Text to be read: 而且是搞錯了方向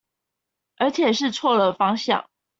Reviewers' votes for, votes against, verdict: 0, 2, rejected